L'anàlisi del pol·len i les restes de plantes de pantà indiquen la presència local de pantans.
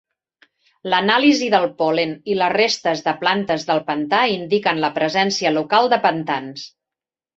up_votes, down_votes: 2, 3